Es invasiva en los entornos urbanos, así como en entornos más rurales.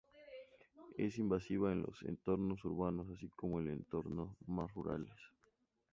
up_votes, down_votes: 0, 2